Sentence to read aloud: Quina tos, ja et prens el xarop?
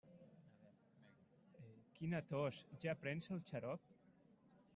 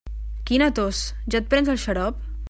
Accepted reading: second